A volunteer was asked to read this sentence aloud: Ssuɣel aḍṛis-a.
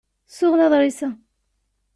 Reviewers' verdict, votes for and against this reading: accepted, 2, 0